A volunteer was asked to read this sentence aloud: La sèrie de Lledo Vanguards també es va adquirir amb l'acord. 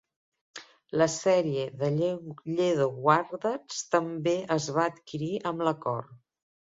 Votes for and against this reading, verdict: 1, 2, rejected